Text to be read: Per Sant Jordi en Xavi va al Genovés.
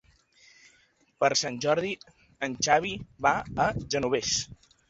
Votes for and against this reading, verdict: 0, 2, rejected